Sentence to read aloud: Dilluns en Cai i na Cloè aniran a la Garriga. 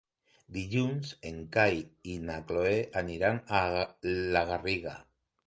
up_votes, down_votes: 1, 3